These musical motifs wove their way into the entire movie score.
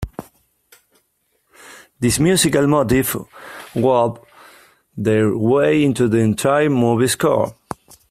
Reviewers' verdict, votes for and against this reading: rejected, 1, 2